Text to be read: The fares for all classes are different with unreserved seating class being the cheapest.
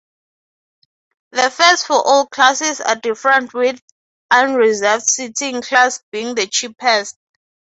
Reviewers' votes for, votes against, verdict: 6, 0, accepted